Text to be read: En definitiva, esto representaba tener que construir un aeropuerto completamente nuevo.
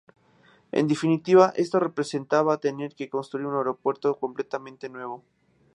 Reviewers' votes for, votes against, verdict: 2, 0, accepted